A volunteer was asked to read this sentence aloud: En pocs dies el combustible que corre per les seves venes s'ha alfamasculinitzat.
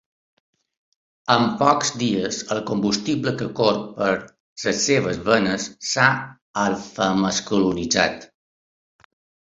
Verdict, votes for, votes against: rejected, 1, 2